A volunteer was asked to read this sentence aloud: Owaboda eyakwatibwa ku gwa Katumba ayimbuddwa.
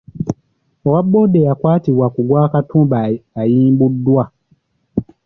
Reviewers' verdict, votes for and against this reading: rejected, 0, 2